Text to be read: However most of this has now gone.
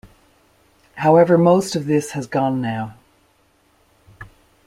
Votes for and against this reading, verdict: 0, 2, rejected